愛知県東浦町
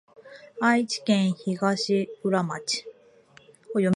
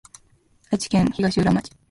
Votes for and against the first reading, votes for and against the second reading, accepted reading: 4, 0, 0, 2, first